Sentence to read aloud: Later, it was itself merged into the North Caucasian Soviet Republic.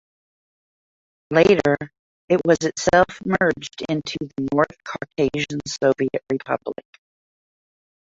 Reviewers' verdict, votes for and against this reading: rejected, 0, 2